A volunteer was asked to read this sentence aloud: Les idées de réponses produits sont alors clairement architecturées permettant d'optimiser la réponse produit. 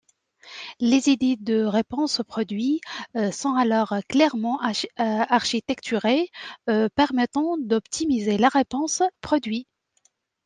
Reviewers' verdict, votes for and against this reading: rejected, 0, 2